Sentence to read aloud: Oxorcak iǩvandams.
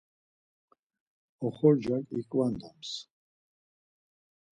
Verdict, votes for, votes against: accepted, 4, 0